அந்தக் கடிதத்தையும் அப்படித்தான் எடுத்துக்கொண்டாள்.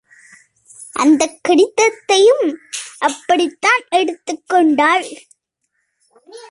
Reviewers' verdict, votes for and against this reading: accepted, 2, 0